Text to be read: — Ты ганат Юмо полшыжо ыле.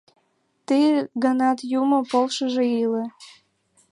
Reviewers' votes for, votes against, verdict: 0, 2, rejected